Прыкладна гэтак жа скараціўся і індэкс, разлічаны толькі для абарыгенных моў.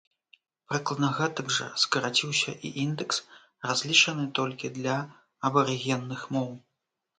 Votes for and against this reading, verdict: 2, 0, accepted